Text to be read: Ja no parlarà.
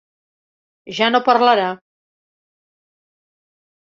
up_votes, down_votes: 2, 0